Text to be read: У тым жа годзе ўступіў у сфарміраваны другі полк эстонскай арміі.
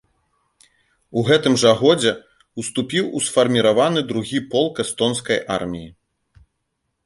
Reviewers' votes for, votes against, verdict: 0, 2, rejected